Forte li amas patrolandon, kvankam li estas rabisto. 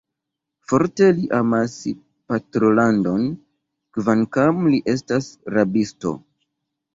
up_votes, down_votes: 1, 2